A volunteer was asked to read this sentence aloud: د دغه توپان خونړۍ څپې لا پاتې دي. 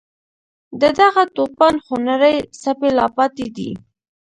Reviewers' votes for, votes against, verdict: 0, 2, rejected